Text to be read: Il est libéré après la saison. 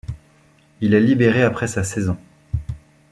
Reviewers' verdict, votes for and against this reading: rejected, 0, 2